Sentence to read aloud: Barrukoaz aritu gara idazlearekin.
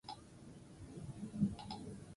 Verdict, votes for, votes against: rejected, 0, 2